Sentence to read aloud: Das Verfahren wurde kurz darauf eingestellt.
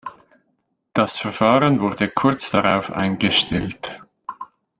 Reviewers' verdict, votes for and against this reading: accepted, 2, 0